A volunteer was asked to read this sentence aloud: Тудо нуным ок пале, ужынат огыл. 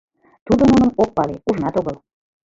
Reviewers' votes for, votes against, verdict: 1, 2, rejected